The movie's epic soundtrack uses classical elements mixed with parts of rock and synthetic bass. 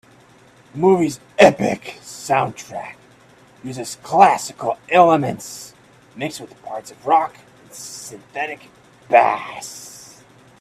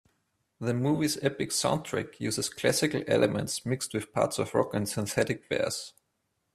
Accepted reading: second